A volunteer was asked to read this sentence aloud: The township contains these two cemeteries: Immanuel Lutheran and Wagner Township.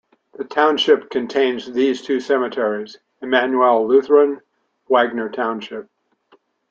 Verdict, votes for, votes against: rejected, 1, 2